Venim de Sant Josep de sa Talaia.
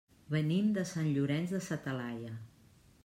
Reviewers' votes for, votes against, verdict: 0, 2, rejected